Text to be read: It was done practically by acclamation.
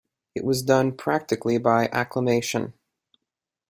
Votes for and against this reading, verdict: 3, 0, accepted